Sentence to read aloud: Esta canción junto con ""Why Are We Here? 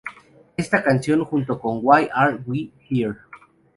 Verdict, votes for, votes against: accepted, 2, 0